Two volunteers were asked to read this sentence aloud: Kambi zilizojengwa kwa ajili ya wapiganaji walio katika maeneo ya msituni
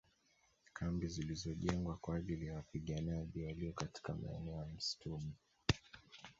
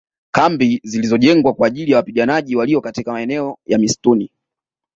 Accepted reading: second